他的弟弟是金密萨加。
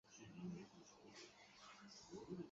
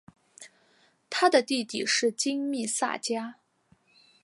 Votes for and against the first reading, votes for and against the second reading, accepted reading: 0, 2, 3, 0, second